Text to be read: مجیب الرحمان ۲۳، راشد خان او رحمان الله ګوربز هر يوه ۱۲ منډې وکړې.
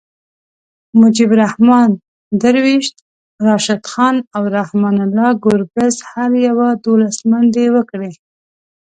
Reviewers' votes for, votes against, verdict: 0, 2, rejected